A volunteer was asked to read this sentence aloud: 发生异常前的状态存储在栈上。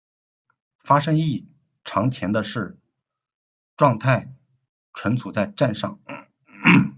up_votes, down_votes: 0, 2